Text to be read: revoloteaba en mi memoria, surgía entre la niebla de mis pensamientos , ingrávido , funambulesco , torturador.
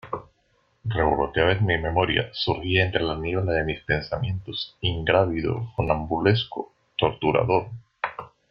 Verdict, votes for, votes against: accepted, 2, 0